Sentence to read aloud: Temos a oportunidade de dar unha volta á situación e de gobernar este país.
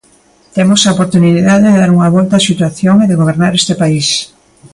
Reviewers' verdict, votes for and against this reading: accepted, 2, 0